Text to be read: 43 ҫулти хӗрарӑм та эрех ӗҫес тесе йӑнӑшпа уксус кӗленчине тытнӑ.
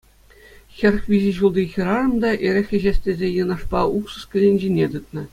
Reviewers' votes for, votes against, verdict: 0, 2, rejected